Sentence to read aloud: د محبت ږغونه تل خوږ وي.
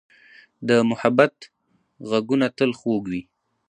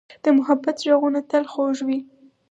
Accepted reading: second